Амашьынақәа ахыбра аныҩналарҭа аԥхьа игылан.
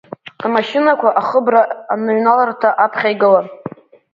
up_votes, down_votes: 1, 2